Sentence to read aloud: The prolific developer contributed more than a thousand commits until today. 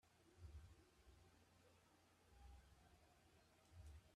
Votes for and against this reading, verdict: 0, 2, rejected